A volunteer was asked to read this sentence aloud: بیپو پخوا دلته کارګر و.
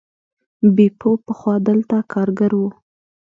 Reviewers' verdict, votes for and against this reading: rejected, 1, 2